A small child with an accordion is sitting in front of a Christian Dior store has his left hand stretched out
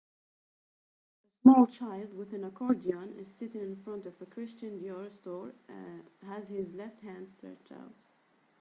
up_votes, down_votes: 2, 4